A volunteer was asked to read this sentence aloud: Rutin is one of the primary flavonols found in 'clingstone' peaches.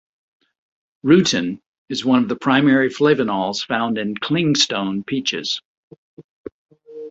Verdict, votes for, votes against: accepted, 2, 0